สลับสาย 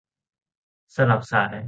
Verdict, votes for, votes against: accepted, 2, 0